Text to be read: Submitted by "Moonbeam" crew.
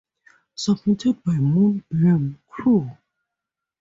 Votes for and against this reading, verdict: 2, 0, accepted